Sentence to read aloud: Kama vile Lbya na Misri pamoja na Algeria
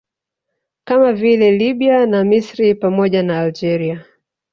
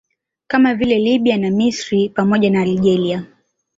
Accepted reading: second